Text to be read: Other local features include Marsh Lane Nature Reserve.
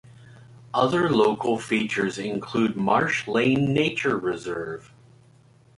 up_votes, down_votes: 2, 0